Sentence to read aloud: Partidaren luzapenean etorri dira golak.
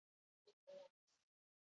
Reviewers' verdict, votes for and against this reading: rejected, 0, 2